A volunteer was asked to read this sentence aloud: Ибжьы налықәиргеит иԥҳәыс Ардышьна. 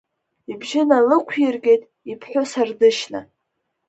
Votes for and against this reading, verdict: 3, 0, accepted